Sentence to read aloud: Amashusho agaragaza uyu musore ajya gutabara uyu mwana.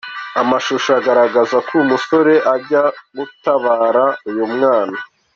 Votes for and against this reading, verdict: 1, 2, rejected